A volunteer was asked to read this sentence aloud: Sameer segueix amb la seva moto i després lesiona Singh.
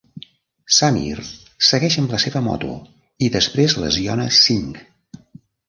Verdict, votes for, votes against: accepted, 2, 0